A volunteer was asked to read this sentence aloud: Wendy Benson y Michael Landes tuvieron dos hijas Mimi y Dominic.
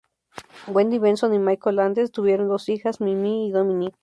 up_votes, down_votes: 2, 0